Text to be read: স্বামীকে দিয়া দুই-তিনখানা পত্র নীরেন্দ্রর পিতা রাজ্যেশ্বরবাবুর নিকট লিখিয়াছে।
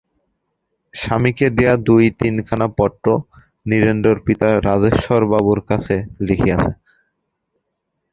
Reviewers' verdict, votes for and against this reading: rejected, 0, 2